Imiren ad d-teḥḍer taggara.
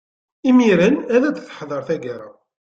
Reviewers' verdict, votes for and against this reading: accepted, 2, 1